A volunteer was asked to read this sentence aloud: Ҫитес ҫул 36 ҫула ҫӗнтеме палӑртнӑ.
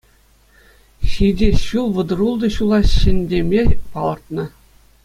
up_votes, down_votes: 0, 2